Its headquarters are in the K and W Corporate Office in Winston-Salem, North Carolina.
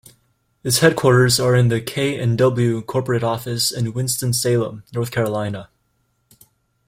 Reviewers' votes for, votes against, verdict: 2, 0, accepted